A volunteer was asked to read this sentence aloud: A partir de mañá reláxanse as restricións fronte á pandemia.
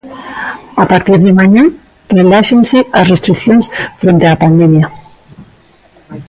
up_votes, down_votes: 2, 0